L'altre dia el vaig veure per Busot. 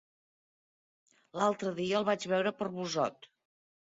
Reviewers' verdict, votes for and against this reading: accepted, 3, 0